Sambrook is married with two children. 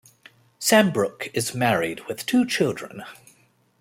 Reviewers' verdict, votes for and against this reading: accepted, 2, 0